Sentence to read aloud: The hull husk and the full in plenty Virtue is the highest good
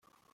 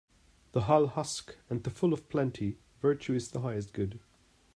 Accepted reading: second